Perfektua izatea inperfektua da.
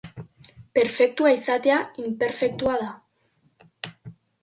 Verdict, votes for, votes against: accepted, 2, 0